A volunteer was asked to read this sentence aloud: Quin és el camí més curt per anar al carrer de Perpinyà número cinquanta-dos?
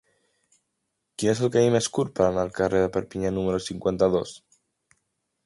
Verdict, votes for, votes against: rejected, 0, 2